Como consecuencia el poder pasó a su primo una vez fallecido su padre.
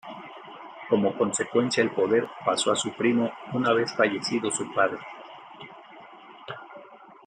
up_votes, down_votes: 2, 0